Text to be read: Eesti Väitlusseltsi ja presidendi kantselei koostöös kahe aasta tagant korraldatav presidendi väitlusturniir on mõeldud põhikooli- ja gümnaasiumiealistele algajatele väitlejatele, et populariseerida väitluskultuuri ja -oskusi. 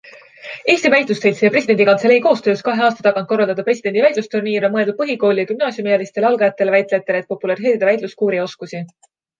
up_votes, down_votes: 0, 2